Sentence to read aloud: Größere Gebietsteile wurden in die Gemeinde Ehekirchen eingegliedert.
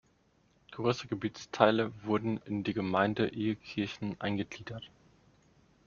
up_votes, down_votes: 2, 1